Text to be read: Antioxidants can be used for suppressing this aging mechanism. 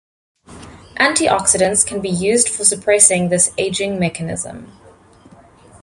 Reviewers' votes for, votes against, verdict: 2, 0, accepted